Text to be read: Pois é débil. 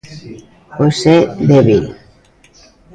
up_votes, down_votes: 0, 2